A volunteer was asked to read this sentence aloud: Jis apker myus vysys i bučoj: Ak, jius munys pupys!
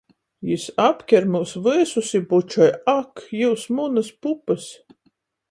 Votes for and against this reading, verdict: 0, 14, rejected